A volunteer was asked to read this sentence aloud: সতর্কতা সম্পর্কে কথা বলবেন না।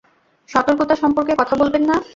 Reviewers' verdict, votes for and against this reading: rejected, 0, 2